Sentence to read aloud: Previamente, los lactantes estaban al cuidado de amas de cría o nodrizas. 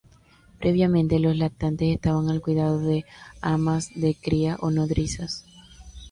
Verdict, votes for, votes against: rejected, 0, 2